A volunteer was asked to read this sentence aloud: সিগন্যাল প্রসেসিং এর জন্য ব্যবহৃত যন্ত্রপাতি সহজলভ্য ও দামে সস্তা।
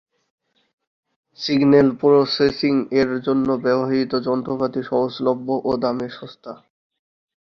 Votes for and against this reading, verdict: 4, 0, accepted